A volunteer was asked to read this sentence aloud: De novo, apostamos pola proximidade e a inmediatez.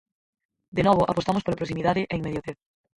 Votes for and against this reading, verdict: 0, 4, rejected